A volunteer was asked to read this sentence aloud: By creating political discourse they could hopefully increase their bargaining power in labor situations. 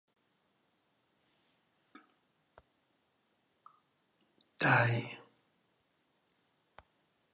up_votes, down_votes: 0, 2